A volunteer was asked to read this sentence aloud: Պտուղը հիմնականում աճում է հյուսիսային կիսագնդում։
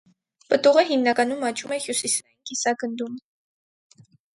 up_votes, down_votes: 0, 4